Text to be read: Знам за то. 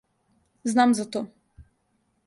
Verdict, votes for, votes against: accepted, 2, 0